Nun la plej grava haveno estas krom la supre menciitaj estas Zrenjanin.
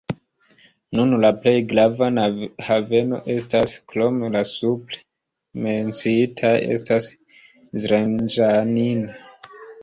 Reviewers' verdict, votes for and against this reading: rejected, 0, 2